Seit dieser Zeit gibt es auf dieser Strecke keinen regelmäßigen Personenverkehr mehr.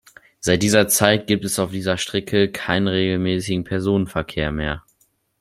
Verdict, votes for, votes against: rejected, 1, 2